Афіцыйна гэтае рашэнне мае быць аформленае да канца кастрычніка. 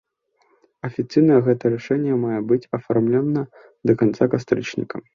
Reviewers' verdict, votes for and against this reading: accepted, 2, 1